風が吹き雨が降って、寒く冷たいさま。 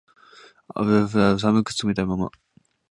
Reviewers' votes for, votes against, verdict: 0, 2, rejected